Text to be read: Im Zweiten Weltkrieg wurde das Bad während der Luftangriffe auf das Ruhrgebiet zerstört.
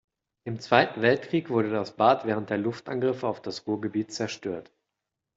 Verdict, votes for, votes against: accepted, 2, 0